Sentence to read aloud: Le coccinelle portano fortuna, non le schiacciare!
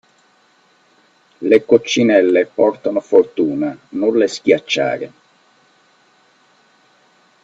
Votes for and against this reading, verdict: 2, 0, accepted